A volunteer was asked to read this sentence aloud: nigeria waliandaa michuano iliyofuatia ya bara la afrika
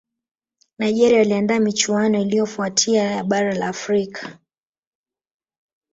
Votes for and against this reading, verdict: 3, 1, accepted